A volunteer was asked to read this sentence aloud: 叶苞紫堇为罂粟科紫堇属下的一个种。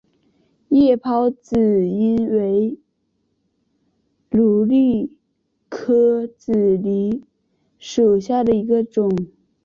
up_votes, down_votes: 2, 1